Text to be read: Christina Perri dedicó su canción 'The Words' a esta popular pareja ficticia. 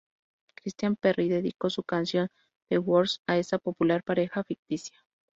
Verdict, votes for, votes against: rejected, 0, 2